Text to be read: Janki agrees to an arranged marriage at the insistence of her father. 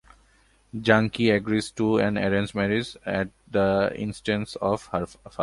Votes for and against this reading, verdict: 1, 2, rejected